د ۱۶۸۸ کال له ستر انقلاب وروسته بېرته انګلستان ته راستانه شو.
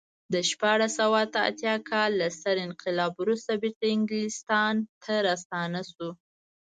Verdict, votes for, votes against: rejected, 0, 2